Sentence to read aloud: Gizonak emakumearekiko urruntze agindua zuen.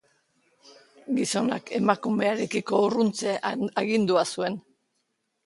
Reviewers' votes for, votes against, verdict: 1, 2, rejected